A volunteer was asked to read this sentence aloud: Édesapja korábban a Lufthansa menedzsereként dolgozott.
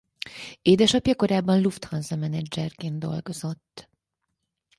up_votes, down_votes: 2, 4